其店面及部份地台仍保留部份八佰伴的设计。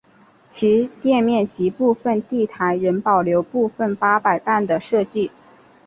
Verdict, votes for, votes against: accepted, 5, 0